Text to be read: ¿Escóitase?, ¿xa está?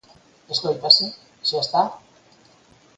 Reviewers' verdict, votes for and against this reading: accepted, 4, 0